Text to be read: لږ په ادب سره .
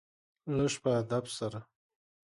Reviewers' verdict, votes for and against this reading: accepted, 2, 0